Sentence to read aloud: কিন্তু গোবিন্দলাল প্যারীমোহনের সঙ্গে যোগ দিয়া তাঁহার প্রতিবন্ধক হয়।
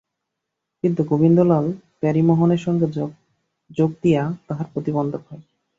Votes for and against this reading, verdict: 0, 5, rejected